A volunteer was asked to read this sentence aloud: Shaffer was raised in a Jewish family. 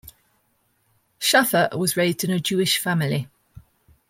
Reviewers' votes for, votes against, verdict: 2, 0, accepted